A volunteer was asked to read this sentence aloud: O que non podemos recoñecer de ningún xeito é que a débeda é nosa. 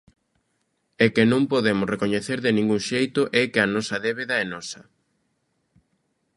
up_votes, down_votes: 0, 2